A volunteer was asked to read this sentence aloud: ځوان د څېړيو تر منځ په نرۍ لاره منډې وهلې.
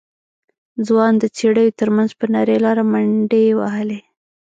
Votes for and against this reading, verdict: 1, 2, rejected